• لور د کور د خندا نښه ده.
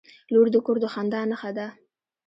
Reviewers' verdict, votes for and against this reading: accepted, 3, 0